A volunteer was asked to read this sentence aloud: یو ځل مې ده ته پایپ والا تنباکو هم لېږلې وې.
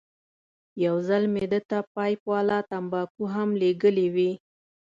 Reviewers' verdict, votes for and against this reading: accepted, 2, 0